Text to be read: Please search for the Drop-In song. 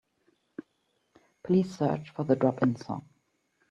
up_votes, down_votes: 2, 0